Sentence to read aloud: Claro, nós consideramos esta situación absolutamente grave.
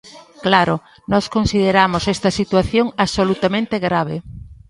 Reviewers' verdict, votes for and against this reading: accepted, 2, 0